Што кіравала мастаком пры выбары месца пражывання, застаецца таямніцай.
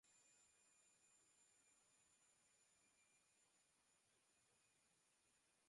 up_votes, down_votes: 0, 2